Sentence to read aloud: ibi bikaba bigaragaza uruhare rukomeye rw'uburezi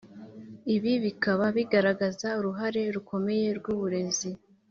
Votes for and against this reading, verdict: 3, 0, accepted